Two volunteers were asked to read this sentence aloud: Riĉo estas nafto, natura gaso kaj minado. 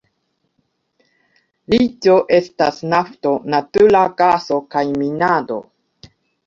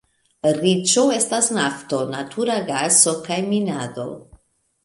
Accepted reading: second